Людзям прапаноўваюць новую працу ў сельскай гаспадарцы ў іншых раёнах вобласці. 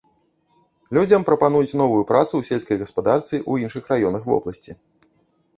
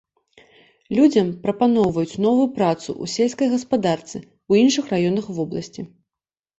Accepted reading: second